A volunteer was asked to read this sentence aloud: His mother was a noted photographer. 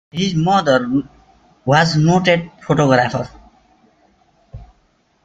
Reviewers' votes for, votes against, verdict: 0, 2, rejected